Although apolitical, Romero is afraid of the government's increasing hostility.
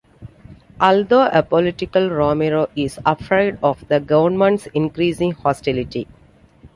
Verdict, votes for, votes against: rejected, 1, 2